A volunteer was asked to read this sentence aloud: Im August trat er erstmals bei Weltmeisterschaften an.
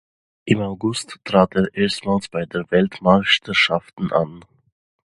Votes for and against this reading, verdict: 0, 2, rejected